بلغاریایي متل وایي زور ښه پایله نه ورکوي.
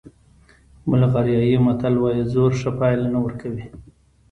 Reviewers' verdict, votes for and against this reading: accepted, 2, 1